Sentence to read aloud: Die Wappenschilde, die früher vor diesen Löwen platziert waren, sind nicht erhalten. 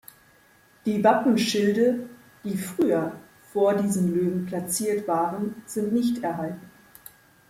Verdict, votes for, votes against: accepted, 2, 0